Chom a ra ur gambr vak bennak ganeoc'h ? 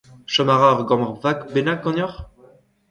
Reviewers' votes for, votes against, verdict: 2, 0, accepted